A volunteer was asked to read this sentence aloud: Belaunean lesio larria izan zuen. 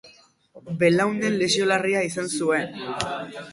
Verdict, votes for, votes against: accepted, 2, 0